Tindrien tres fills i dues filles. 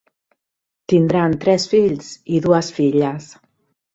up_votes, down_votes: 0, 2